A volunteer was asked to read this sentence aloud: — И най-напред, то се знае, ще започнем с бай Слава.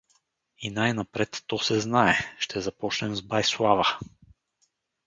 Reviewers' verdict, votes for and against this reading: accepted, 4, 0